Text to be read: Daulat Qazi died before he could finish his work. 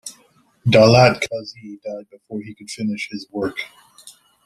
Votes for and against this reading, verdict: 1, 2, rejected